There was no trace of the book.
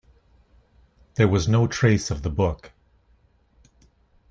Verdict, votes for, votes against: accepted, 2, 0